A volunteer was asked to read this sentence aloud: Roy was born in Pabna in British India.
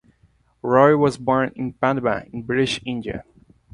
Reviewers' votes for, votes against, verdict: 2, 0, accepted